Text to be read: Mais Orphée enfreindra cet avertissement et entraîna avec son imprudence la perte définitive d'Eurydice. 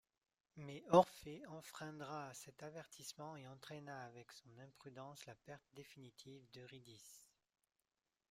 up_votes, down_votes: 1, 2